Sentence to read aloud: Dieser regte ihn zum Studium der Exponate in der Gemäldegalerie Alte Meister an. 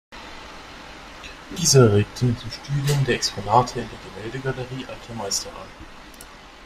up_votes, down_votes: 2, 0